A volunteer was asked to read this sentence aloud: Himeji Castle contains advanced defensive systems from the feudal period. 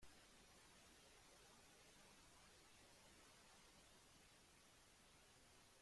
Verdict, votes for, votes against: rejected, 0, 2